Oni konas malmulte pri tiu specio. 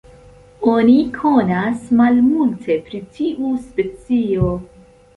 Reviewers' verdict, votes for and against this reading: accepted, 2, 0